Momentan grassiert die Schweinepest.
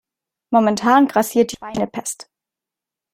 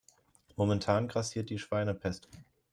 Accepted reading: second